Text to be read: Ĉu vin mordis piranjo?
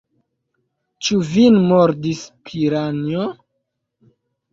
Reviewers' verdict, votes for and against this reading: accepted, 2, 1